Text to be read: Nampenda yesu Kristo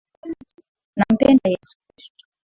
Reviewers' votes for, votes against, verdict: 2, 1, accepted